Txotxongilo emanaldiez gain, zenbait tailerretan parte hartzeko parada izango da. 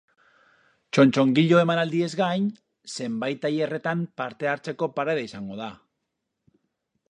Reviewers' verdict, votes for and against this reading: accepted, 4, 0